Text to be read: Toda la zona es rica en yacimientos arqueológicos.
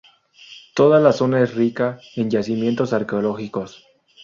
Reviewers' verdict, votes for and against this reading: accepted, 2, 0